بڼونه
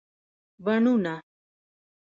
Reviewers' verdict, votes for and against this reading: accepted, 2, 1